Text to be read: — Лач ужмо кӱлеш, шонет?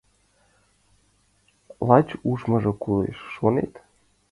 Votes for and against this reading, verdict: 0, 2, rejected